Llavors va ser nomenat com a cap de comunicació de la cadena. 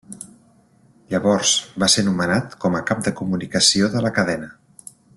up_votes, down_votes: 3, 0